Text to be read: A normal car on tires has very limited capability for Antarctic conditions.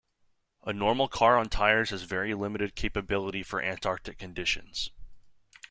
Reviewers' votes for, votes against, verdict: 2, 0, accepted